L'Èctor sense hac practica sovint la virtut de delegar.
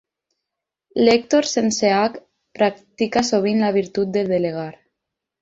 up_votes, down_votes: 6, 0